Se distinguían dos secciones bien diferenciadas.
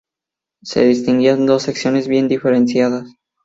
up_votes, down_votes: 2, 0